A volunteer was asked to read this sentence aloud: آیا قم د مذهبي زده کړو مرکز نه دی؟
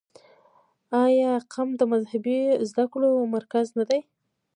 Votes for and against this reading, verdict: 2, 1, accepted